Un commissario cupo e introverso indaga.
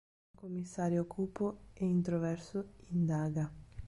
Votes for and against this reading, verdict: 2, 1, accepted